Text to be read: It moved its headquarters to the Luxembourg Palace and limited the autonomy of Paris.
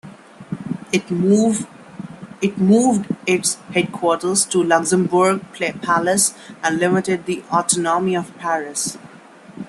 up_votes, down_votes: 0, 2